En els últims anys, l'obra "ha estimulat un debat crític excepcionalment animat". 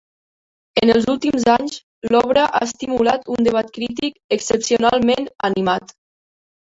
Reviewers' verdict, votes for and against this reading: rejected, 0, 2